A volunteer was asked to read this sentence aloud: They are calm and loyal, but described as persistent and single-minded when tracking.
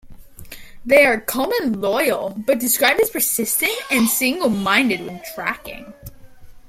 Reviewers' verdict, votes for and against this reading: rejected, 0, 2